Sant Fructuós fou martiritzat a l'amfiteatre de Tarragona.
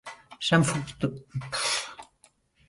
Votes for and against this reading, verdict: 1, 2, rejected